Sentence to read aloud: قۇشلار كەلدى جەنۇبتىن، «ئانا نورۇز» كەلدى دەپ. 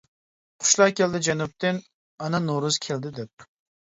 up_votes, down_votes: 2, 0